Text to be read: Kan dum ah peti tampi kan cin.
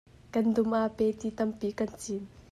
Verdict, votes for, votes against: accepted, 2, 0